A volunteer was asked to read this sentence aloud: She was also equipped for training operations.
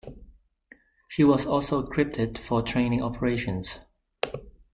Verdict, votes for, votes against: rejected, 0, 2